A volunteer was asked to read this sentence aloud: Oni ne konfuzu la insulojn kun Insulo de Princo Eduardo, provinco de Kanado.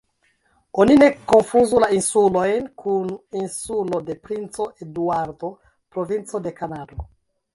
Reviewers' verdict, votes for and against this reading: rejected, 0, 2